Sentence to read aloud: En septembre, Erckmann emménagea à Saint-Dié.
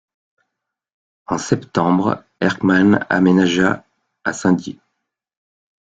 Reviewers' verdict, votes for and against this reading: rejected, 1, 2